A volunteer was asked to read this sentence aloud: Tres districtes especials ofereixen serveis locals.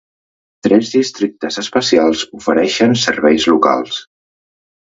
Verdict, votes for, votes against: accepted, 2, 0